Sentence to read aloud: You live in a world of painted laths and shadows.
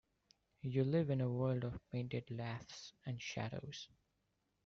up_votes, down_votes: 2, 1